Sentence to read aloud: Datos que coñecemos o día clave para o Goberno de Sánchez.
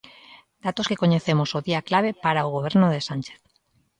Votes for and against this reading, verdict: 2, 0, accepted